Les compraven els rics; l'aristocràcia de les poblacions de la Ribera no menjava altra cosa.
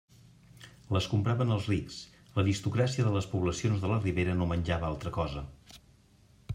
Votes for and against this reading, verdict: 2, 0, accepted